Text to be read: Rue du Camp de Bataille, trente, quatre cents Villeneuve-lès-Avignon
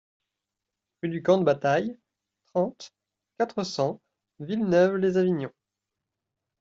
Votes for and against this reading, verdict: 2, 0, accepted